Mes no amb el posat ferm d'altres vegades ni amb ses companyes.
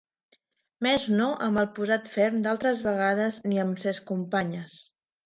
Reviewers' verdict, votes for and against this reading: accepted, 2, 1